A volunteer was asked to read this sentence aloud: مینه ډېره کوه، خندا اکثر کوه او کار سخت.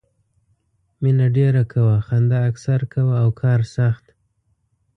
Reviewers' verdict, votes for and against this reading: accepted, 2, 0